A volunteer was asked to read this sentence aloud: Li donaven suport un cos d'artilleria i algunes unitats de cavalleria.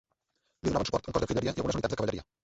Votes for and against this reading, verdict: 0, 2, rejected